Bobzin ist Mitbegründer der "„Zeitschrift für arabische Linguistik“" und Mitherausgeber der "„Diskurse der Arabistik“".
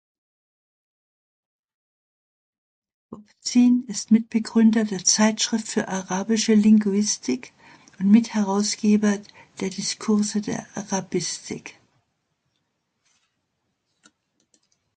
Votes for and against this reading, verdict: 1, 2, rejected